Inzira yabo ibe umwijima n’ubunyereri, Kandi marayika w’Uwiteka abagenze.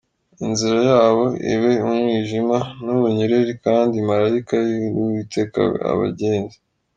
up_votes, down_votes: 2, 3